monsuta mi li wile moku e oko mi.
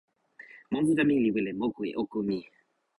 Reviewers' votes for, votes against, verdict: 0, 2, rejected